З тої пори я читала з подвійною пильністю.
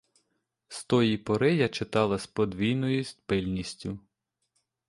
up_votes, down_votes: 1, 2